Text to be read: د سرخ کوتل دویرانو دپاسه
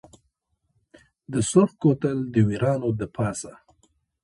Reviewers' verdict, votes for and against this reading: accepted, 2, 1